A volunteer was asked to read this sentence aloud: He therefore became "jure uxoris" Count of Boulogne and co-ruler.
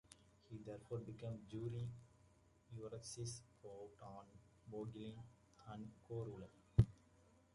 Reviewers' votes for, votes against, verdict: 0, 2, rejected